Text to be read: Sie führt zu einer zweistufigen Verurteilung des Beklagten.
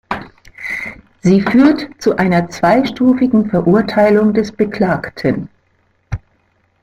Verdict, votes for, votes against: accepted, 2, 1